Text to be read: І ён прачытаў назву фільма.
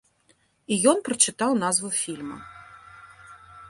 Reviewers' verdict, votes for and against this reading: accepted, 2, 0